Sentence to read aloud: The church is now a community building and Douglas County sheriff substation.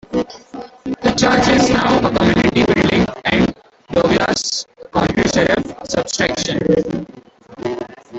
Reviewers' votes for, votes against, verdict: 0, 2, rejected